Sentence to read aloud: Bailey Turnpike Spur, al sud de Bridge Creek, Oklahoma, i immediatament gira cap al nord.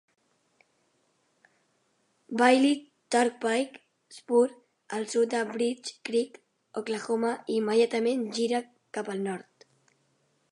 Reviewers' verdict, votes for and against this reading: accepted, 3, 1